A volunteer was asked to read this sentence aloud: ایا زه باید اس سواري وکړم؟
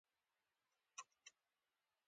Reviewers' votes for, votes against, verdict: 2, 1, accepted